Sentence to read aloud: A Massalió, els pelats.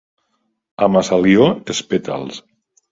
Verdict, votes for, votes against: rejected, 1, 2